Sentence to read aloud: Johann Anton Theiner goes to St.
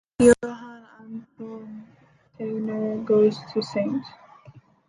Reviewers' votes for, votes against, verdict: 0, 2, rejected